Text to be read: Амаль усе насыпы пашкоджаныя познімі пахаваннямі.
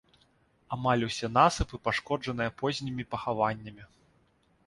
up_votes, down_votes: 2, 0